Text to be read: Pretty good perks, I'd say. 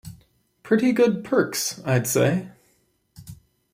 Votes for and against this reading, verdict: 2, 1, accepted